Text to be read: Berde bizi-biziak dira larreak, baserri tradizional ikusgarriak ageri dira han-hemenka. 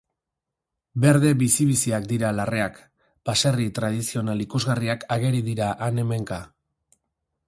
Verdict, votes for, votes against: accepted, 6, 0